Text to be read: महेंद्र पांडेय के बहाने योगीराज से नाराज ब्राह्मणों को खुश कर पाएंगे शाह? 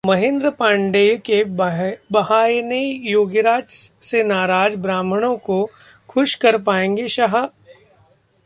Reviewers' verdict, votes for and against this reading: rejected, 1, 2